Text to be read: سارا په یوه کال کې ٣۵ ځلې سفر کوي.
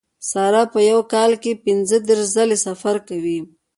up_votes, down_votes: 0, 2